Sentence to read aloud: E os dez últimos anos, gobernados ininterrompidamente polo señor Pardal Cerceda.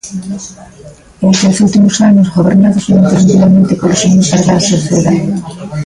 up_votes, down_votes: 0, 2